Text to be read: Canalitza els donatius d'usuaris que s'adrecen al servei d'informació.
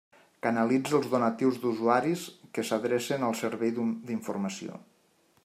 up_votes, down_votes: 1, 2